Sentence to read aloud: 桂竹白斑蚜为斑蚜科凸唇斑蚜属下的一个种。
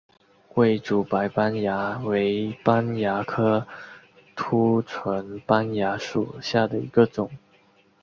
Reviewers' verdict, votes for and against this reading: accepted, 2, 0